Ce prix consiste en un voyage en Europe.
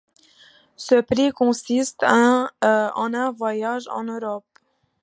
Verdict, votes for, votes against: rejected, 0, 2